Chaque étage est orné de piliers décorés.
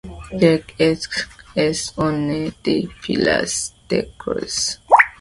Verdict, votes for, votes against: rejected, 1, 2